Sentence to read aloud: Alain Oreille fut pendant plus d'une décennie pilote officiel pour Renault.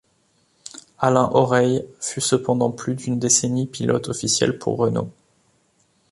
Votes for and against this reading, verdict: 1, 2, rejected